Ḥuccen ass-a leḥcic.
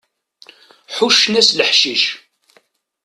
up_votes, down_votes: 1, 2